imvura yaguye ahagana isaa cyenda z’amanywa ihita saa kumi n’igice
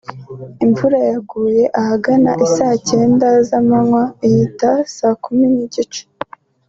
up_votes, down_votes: 2, 0